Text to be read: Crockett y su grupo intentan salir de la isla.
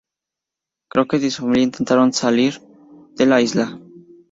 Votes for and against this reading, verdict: 0, 2, rejected